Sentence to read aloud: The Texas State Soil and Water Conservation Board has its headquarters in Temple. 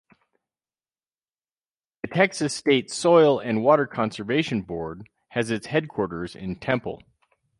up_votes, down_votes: 0, 2